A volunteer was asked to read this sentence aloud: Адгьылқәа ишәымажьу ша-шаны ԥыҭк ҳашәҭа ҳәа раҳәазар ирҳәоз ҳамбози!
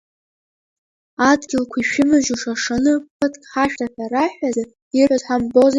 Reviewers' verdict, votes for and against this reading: accepted, 2, 1